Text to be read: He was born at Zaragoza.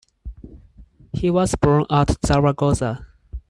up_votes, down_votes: 4, 0